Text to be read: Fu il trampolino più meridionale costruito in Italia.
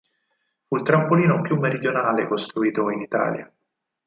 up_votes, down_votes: 0, 4